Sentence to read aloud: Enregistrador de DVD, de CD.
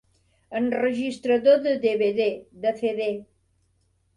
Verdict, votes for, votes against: rejected, 0, 2